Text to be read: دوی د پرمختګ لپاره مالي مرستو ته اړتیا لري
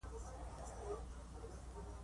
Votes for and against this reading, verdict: 1, 2, rejected